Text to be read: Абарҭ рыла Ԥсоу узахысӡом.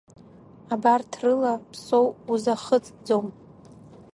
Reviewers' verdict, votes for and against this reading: accepted, 2, 0